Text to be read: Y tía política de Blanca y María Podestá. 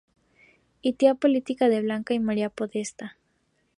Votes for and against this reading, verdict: 2, 0, accepted